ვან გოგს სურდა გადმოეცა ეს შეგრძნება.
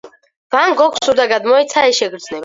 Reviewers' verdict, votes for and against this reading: rejected, 2, 4